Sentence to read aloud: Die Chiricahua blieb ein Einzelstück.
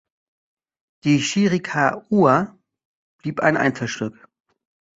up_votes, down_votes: 1, 2